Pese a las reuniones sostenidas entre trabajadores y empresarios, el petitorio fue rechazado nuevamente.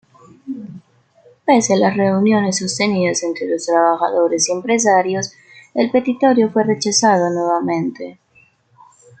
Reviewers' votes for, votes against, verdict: 0, 2, rejected